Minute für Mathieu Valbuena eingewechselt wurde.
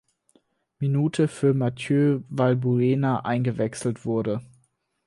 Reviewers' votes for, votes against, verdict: 4, 0, accepted